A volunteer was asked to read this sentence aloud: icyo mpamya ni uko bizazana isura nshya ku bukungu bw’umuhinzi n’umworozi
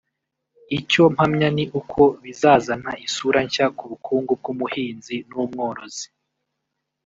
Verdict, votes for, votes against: rejected, 1, 2